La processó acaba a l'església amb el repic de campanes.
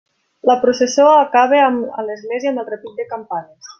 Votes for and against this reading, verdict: 0, 2, rejected